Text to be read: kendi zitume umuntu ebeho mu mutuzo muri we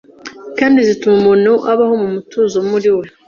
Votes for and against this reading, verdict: 1, 2, rejected